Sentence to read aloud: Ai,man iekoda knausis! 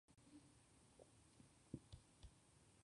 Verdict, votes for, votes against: rejected, 0, 2